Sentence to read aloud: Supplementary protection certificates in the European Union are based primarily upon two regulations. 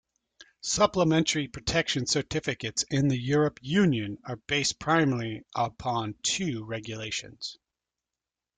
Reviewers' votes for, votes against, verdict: 1, 2, rejected